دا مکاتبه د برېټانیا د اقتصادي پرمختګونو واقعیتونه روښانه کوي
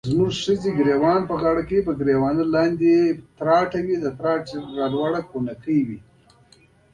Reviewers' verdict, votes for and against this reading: rejected, 0, 2